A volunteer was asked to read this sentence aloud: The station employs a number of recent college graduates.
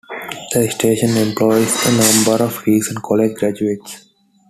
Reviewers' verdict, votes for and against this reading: accepted, 2, 0